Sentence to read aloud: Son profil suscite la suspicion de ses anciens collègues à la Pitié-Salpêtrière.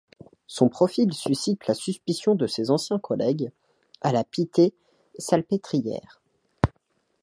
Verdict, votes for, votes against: rejected, 0, 2